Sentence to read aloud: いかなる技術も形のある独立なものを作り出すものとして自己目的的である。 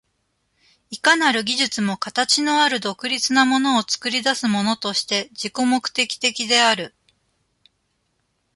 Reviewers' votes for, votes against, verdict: 2, 1, accepted